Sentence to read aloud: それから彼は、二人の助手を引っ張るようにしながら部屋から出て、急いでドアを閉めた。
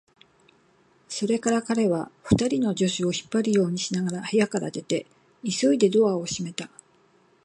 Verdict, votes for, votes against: rejected, 2, 2